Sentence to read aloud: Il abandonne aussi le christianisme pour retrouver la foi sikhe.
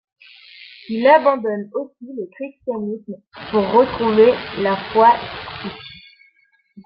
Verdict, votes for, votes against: rejected, 0, 2